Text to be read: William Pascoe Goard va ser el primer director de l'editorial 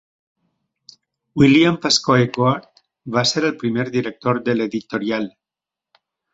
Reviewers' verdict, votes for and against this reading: accepted, 2, 1